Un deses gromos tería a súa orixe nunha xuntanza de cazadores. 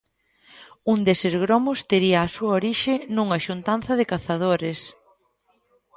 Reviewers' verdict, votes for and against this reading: accepted, 2, 0